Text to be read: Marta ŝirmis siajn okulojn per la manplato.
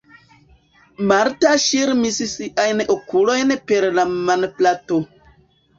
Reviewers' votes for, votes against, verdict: 0, 2, rejected